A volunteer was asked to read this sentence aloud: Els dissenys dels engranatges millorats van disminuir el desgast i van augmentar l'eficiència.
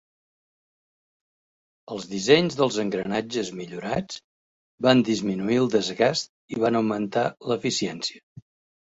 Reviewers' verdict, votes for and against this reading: accepted, 4, 1